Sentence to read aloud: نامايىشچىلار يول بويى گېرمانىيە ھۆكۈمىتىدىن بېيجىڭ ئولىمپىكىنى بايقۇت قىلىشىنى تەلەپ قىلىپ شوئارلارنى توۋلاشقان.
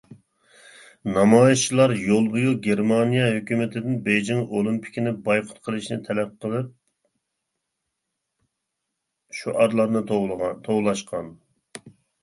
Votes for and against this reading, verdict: 0, 2, rejected